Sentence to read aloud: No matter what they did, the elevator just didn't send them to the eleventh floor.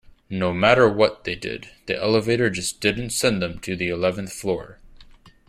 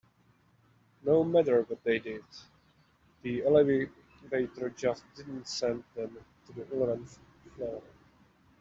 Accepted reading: first